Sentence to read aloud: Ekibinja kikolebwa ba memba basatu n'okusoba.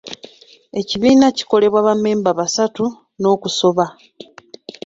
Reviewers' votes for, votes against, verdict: 1, 2, rejected